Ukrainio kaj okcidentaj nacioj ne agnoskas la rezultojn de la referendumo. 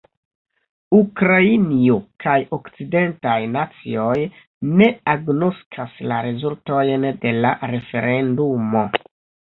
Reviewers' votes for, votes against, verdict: 2, 1, accepted